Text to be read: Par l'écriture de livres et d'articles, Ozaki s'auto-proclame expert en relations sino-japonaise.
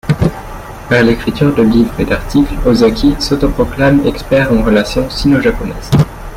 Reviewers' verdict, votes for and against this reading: accepted, 2, 0